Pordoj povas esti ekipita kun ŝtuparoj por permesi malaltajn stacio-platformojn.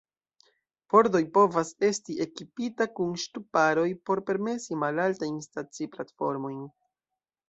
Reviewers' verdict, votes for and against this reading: rejected, 0, 2